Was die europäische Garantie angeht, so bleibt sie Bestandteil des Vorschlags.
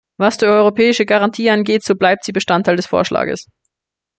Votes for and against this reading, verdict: 1, 2, rejected